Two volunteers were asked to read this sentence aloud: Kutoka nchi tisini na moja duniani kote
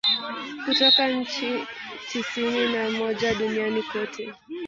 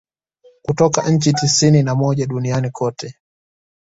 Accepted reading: second